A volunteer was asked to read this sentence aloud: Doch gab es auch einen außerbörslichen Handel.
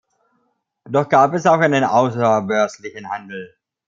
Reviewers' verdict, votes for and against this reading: rejected, 1, 2